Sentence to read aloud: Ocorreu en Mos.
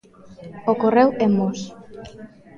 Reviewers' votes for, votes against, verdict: 2, 0, accepted